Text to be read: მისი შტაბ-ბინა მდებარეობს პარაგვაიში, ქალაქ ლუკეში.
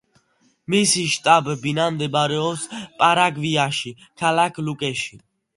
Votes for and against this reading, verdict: 0, 2, rejected